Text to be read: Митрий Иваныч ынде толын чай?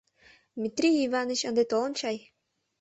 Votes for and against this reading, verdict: 3, 0, accepted